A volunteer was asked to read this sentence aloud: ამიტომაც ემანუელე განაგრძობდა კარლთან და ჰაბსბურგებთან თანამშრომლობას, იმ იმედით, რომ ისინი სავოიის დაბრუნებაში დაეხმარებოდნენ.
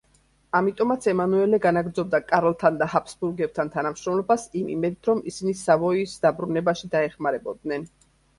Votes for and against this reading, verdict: 2, 0, accepted